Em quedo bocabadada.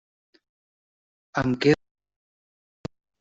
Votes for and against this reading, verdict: 0, 2, rejected